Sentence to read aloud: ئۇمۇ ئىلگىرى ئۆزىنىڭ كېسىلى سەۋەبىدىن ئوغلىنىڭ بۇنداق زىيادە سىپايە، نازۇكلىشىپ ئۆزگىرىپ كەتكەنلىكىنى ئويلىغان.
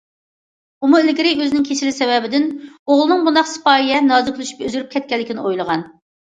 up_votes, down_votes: 0, 2